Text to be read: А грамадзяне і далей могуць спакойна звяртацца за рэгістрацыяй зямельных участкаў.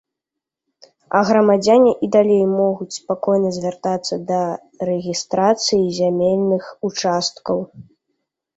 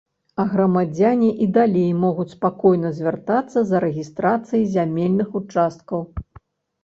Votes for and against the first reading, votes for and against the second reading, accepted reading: 1, 2, 2, 0, second